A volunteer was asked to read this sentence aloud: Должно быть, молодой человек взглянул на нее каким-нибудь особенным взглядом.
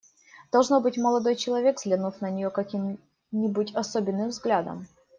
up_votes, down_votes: 1, 2